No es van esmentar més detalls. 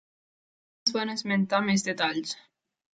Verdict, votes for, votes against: rejected, 0, 2